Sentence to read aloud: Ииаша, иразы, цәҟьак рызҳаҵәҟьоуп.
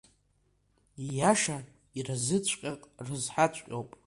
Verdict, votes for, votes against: rejected, 1, 2